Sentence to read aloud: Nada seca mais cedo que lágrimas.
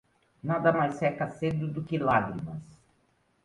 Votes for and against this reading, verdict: 1, 2, rejected